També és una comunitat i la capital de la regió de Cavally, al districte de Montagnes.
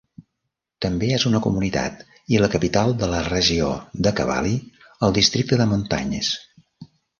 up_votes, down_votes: 2, 0